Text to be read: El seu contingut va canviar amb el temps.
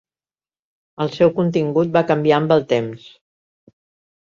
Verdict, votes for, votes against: accepted, 4, 0